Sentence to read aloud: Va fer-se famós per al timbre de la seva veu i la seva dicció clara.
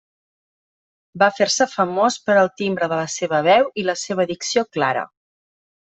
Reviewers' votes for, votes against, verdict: 2, 0, accepted